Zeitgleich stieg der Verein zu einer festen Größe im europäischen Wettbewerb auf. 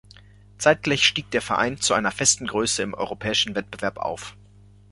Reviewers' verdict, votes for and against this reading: accepted, 2, 0